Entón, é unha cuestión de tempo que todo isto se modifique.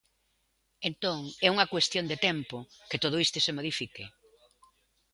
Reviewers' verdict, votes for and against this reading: accepted, 2, 1